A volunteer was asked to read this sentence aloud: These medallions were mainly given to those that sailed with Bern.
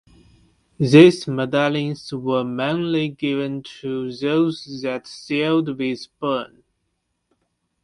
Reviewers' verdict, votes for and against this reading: accepted, 2, 0